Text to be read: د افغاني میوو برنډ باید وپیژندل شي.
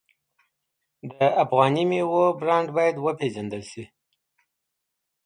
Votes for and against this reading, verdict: 2, 0, accepted